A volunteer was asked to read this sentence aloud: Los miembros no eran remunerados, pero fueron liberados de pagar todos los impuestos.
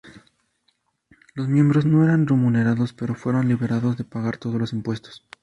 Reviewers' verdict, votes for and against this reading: rejected, 0, 2